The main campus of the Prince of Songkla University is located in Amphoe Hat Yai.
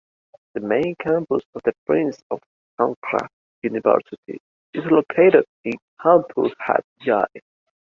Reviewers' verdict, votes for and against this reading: accepted, 2, 0